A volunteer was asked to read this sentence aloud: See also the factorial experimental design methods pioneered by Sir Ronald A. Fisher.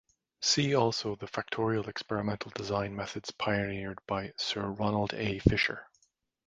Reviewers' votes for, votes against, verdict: 2, 0, accepted